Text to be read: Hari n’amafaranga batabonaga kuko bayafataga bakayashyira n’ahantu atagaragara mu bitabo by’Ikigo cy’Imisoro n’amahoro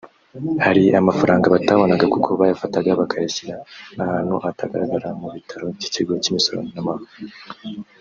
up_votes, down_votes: 0, 2